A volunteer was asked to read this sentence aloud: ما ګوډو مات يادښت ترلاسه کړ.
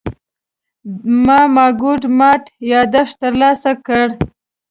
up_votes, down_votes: 0, 2